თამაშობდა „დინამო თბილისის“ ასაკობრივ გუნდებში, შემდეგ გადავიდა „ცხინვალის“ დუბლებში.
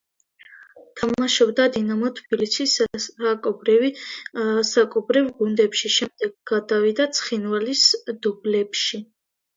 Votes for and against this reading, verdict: 0, 2, rejected